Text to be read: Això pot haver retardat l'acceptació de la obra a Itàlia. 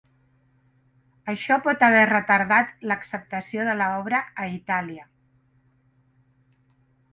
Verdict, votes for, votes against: accepted, 3, 0